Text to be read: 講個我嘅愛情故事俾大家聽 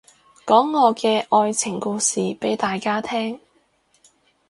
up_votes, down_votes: 2, 2